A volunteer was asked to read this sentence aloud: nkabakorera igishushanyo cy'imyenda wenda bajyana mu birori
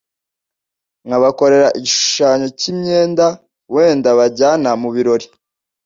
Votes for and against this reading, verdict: 2, 0, accepted